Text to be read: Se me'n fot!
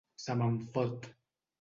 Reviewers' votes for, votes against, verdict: 2, 0, accepted